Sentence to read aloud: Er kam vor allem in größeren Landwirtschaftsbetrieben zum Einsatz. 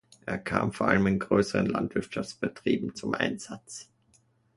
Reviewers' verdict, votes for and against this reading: accepted, 2, 0